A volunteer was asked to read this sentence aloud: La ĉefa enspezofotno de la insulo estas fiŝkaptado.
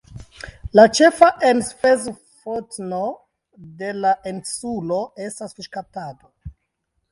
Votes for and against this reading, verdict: 0, 2, rejected